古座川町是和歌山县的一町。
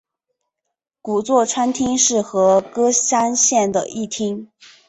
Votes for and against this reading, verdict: 2, 0, accepted